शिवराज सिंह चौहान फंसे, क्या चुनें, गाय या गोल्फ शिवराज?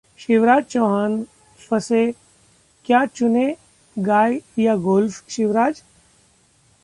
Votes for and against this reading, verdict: 1, 2, rejected